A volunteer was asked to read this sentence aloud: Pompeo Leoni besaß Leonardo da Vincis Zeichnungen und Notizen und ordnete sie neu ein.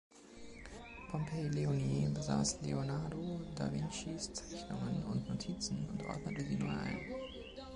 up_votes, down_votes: 2, 1